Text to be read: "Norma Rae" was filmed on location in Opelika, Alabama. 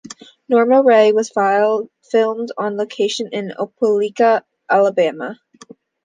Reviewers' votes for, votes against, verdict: 0, 2, rejected